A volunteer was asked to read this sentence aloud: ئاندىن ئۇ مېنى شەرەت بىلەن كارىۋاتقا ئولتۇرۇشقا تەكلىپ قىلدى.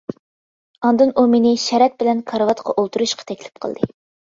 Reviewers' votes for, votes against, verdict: 2, 0, accepted